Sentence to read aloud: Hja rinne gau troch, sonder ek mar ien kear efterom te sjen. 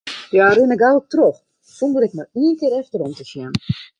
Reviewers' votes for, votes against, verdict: 0, 2, rejected